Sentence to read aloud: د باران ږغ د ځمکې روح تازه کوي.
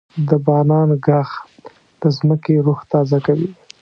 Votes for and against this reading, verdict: 1, 2, rejected